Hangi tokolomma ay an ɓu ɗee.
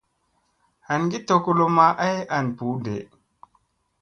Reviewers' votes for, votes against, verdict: 2, 0, accepted